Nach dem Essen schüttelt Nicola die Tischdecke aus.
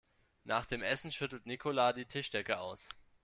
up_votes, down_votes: 2, 0